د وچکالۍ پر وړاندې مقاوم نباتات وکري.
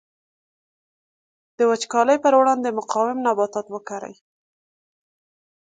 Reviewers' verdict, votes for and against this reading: accepted, 3, 0